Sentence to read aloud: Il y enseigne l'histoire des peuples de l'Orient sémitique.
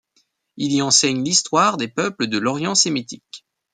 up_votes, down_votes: 2, 0